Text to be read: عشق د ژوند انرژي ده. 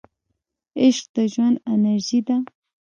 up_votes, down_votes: 0, 2